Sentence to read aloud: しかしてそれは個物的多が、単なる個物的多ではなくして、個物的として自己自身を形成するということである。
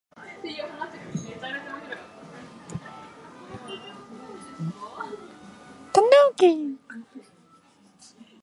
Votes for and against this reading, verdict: 1, 2, rejected